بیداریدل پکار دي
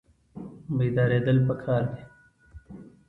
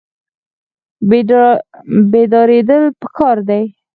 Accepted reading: first